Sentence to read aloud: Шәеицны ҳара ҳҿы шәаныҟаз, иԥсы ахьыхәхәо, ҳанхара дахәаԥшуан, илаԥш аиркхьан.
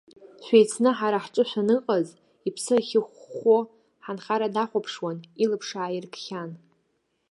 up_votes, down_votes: 2, 1